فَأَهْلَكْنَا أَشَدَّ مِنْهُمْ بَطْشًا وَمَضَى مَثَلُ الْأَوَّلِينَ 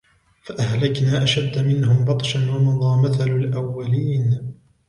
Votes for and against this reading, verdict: 2, 0, accepted